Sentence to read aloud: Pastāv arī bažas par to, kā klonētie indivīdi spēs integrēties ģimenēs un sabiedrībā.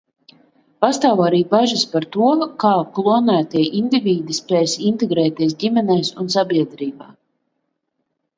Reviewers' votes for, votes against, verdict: 2, 0, accepted